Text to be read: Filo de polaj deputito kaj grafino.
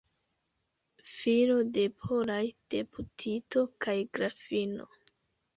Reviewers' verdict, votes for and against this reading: accepted, 2, 0